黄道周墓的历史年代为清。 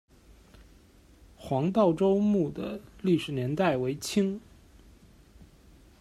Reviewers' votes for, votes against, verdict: 2, 0, accepted